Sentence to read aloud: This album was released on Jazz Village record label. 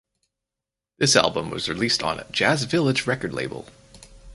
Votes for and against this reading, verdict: 4, 0, accepted